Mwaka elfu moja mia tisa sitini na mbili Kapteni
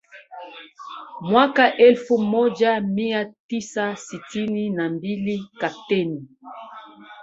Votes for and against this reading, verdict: 1, 2, rejected